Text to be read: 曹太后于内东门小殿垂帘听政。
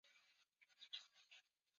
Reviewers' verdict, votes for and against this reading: accepted, 2, 0